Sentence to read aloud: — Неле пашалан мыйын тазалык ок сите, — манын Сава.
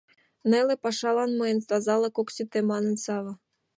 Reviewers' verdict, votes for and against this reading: accepted, 2, 0